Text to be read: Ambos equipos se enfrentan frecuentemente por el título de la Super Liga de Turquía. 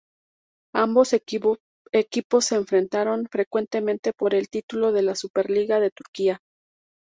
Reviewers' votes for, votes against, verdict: 0, 2, rejected